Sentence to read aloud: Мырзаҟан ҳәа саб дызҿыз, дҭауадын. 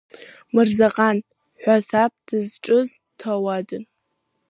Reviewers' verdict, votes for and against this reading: accepted, 2, 1